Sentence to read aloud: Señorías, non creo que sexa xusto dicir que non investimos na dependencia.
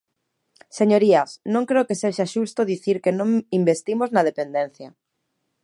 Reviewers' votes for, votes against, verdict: 3, 0, accepted